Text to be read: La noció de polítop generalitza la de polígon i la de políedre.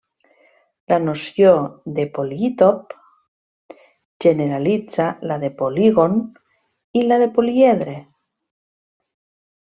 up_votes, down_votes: 1, 2